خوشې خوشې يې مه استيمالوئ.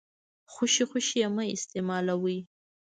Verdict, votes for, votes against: rejected, 0, 2